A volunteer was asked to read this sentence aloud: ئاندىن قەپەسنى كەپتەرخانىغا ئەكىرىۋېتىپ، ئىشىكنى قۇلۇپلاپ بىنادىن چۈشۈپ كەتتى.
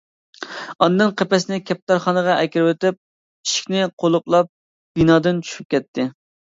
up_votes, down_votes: 2, 0